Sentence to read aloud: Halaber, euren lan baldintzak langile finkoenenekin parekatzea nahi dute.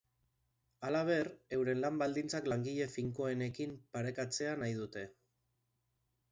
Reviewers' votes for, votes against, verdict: 1, 4, rejected